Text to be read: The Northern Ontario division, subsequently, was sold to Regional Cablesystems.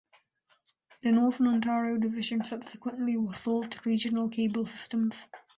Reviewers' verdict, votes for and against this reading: accepted, 2, 0